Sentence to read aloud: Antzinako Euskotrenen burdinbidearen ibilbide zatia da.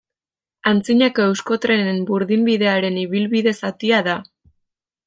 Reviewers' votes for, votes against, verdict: 2, 0, accepted